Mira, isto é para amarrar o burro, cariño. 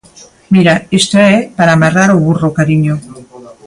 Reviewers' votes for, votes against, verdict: 2, 0, accepted